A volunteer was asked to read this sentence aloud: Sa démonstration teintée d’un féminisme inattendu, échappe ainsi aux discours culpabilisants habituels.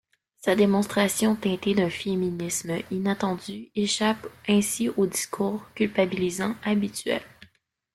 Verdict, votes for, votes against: accepted, 3, 2